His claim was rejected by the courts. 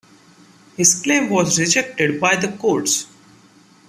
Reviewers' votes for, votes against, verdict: 2, 0, accepted